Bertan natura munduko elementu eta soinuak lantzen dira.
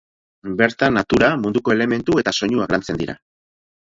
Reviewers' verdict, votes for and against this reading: rejected, 0, 4